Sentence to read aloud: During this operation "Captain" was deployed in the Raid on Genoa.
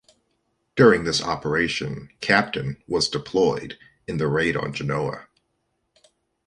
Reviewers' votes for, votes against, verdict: 2, 1, accepted